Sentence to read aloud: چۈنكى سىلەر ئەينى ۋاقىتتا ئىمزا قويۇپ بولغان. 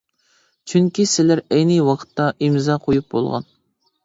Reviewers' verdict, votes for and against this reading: accepted, 2, 0